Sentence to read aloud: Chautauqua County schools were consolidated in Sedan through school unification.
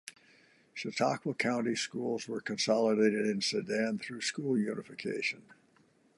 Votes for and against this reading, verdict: 2, 0, accepted